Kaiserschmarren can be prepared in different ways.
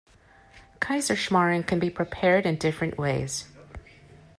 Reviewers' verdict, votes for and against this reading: accepted, 2, 0